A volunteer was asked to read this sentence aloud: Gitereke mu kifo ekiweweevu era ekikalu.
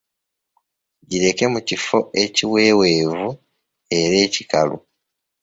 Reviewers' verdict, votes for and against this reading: rejected, 1, 2